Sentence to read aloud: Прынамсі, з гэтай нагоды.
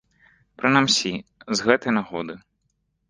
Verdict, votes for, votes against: rejected, 1, 2